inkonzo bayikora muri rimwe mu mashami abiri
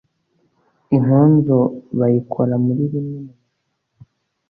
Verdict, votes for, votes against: rejected, 1, 2